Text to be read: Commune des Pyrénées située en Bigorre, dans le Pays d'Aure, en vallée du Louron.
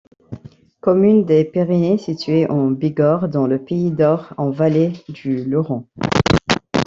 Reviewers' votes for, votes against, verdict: 0, 2, rejected